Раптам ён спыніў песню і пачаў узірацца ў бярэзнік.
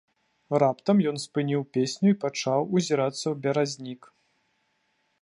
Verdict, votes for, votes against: rejected, 1, 2